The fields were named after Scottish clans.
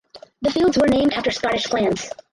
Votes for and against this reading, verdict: 4, 0, accepted